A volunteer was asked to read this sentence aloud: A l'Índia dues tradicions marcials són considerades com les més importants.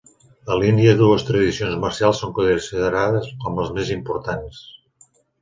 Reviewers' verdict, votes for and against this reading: rejected, 0, 2